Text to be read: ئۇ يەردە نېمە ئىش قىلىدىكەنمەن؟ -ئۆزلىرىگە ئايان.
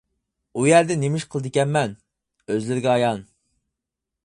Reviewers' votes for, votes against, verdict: 4, 0, accepted